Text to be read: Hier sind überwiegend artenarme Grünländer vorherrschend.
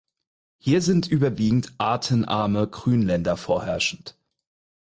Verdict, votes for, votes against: accepted, 4, 0